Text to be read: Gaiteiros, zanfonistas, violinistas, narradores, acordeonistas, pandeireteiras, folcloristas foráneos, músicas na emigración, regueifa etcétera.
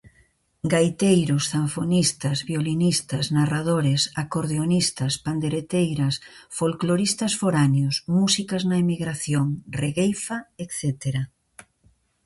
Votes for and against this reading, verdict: 0, 2, rejected